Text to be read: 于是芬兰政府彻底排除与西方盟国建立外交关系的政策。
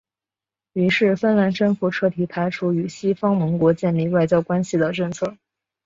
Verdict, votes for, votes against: accepted, 5, 0